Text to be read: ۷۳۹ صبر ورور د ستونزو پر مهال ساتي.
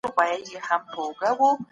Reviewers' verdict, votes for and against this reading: rejected, 0, 2